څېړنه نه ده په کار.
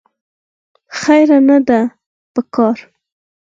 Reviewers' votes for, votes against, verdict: 2, 4, rejected